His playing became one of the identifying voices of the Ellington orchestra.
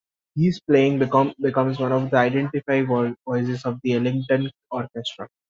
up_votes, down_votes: 1, 2